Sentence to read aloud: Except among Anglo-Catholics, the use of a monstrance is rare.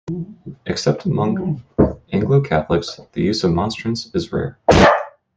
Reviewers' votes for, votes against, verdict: 0, 2, rejected